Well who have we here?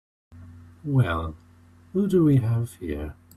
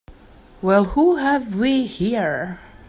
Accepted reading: second